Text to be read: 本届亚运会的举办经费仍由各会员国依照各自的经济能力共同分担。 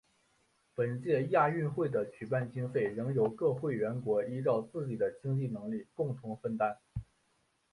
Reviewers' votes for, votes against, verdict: 1, 2, rejected